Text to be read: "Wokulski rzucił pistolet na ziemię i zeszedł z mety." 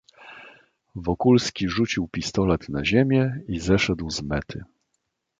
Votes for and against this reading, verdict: 2, 0, accepted